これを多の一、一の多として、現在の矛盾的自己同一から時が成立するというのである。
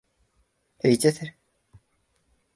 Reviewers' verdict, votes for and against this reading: rejected, 1, 2